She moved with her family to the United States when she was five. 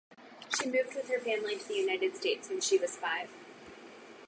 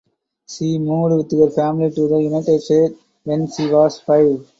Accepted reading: first